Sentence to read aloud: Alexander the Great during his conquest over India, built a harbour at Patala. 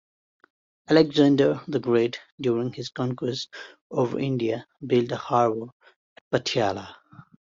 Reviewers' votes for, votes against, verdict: 1, 2, rejected